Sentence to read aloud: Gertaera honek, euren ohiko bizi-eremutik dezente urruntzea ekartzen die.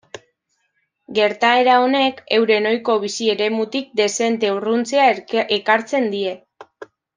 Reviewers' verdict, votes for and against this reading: rejected, 0, 2